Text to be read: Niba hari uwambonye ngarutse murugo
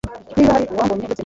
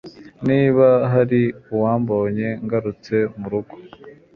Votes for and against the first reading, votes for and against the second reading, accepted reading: 1, 2, 2, 1, second